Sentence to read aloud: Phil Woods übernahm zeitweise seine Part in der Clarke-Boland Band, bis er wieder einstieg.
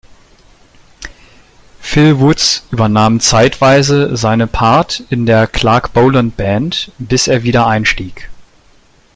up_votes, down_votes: 0, 2